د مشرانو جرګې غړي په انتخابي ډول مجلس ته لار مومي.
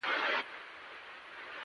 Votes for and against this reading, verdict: 0, 2, rejected